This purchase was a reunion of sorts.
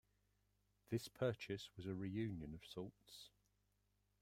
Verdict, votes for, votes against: rejected, 0, 2